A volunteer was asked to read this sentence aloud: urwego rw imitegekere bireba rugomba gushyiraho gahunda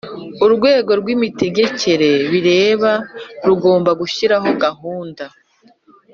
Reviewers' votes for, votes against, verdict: 3, 0, accepted